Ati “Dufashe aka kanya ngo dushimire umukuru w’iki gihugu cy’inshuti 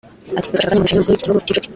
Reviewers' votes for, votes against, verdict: 0, 2, rejected